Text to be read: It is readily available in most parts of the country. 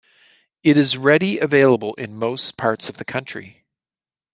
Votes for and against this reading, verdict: 0, 2, rejected